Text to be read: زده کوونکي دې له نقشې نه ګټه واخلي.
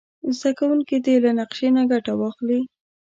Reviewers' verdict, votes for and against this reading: accepted, 2, 0